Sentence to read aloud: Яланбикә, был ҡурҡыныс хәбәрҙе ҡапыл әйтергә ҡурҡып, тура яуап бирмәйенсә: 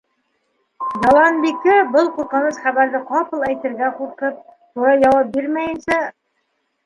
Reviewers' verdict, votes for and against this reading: rejected, 0, 2